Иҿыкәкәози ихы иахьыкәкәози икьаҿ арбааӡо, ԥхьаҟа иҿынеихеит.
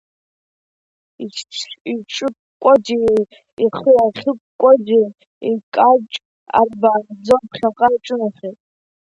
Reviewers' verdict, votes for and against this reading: rejected, 0, 2